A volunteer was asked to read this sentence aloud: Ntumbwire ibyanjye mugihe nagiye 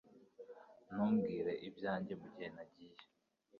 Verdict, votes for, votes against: rejected, 0, 2